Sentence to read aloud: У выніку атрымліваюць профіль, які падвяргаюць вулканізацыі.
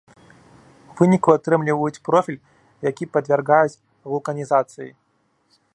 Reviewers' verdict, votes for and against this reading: rejected, 0, 3